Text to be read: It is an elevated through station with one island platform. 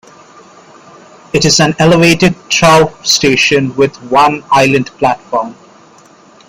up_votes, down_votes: 1, 2